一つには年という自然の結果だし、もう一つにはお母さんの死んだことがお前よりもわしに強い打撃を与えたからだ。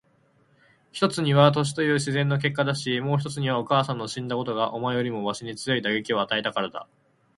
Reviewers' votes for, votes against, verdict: 8, 0, accepted